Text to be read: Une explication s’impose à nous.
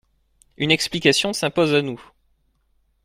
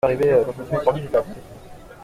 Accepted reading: first